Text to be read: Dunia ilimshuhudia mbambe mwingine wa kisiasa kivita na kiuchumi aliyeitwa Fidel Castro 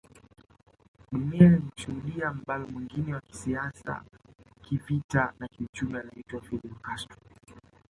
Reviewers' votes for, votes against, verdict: 0, 2, rejected